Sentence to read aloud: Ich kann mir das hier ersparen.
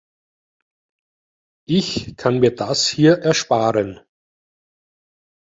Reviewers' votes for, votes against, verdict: 2, 0, accepted